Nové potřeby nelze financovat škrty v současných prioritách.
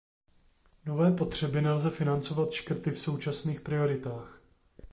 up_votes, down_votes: 2, 0